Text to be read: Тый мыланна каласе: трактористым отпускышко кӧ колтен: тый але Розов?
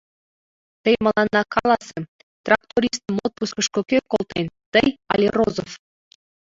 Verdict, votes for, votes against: rejected, 1, 2